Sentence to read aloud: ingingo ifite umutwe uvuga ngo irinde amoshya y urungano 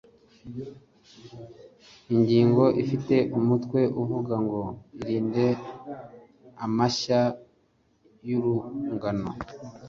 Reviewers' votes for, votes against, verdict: 0, 2, rejected